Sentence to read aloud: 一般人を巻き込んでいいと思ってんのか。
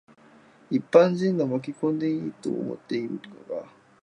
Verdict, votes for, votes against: rejected, 1, 4